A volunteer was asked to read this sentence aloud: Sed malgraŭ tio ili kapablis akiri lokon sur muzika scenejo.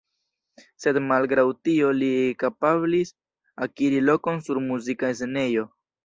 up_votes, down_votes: 0, 2